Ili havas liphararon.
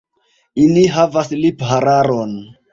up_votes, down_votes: 0, 2